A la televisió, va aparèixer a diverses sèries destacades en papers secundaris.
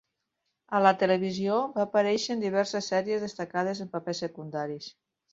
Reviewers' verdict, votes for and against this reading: rejected, 2, 4